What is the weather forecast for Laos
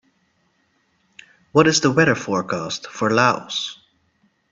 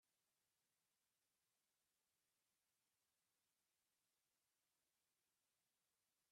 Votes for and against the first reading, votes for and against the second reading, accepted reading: 2, 0, 0, 2, first